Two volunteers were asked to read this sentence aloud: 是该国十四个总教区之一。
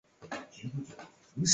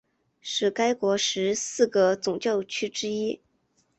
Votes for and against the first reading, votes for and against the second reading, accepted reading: 0, 3, 2, 0, second